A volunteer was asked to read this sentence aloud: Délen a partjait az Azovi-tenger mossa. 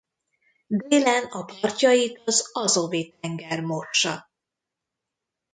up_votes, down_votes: 1, 2